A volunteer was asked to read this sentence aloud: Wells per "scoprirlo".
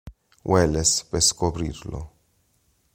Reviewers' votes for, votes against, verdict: 0, 2, rejected